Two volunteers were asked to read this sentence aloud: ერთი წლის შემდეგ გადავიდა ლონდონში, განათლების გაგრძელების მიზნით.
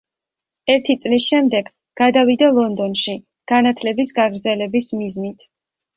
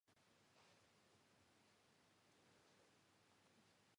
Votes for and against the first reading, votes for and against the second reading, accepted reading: 2, 0, 1, 2, first